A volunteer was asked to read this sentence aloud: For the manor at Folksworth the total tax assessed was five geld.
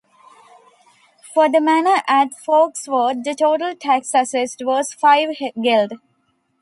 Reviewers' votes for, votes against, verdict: 2, 1, accepted